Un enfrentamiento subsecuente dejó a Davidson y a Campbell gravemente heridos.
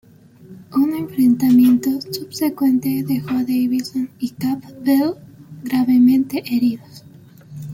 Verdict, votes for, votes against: rejected, 0, 2